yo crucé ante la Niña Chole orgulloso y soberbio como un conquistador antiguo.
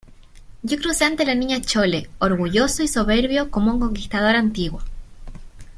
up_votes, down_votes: 2, 0